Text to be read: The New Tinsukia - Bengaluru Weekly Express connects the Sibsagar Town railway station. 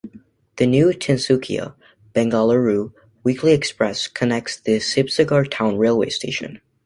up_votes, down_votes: 2, 0